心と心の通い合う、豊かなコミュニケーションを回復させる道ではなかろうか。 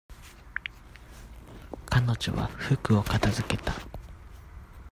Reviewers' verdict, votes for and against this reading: rejected, 0, 2